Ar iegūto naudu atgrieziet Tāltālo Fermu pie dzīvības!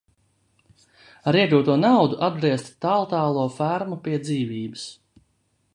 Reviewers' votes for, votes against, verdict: 0, 2, rejected